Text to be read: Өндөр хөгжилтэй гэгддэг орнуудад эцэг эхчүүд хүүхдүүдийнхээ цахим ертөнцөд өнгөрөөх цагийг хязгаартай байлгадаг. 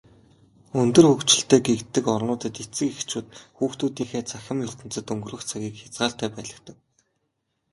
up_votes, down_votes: 6, 1